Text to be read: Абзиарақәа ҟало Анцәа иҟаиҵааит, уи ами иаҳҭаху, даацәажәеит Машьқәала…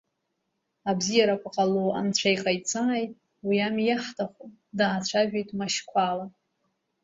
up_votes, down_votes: 2, 0